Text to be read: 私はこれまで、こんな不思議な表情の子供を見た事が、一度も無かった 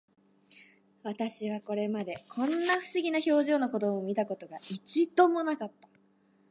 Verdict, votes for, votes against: accepted, 10, 2